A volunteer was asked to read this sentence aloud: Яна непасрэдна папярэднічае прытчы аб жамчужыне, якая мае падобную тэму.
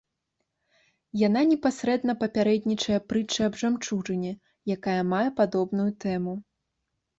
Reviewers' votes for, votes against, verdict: 0, 2, rejected